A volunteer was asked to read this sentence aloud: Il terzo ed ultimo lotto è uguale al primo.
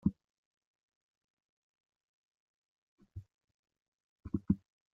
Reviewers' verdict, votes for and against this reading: rejected, 0, 2